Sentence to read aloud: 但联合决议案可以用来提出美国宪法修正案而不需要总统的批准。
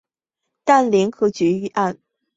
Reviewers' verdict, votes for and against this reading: rejected, 0, 2